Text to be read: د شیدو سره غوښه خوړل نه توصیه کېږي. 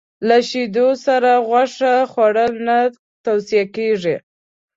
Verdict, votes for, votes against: accepted, 2, 0